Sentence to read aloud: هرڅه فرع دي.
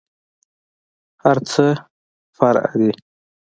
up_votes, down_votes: 4, 0